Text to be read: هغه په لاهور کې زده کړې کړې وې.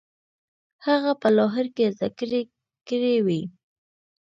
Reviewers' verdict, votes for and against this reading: accepted, 2, 0